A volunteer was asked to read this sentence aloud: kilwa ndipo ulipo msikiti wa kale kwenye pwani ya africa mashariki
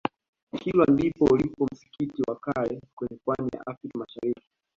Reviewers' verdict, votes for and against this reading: accepted, 2, 1